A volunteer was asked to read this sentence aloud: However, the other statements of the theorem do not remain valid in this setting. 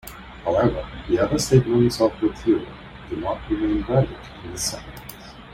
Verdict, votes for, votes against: accepted, 2, 1